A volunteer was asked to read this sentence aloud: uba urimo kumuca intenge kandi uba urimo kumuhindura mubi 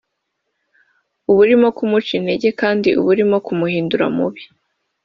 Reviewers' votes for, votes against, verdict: 2, 1, accepted